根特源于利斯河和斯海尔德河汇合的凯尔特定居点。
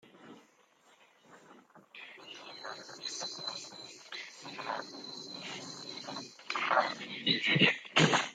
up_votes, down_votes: 0, 2